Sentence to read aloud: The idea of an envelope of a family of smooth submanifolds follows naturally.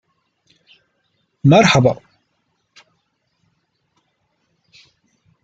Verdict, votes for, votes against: rejected, 0, 2